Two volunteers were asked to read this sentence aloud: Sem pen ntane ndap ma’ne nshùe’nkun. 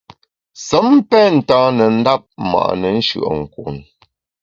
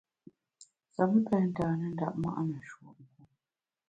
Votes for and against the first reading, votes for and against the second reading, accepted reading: 2, 0, 0, 2, first